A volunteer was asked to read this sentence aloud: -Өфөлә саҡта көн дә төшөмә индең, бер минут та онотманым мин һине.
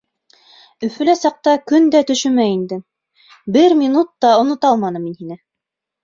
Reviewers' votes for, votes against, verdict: 1, 2, rejected